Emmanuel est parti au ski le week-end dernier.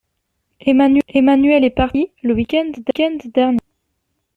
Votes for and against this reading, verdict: 0, 2, rejected